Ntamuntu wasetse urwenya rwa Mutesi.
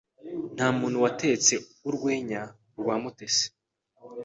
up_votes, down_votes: 2, 1